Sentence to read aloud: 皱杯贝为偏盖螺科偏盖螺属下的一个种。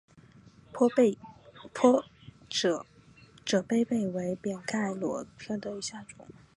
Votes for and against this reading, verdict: 3, 4, rejected